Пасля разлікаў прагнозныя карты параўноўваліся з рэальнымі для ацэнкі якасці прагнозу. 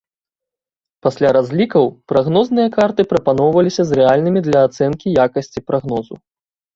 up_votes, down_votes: 1, 2